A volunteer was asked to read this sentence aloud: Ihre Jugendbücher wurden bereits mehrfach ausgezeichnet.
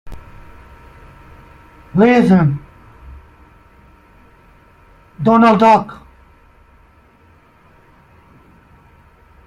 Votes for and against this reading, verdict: 0, 2, rejected